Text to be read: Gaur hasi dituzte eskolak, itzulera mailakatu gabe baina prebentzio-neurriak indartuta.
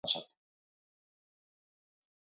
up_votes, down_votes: 2, 6